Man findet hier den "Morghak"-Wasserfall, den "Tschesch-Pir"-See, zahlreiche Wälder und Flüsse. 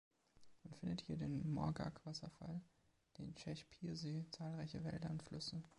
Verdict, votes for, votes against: accepted, 2, 0